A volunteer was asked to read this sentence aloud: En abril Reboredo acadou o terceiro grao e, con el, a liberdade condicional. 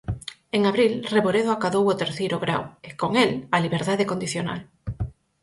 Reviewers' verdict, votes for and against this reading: accepted, 4, 0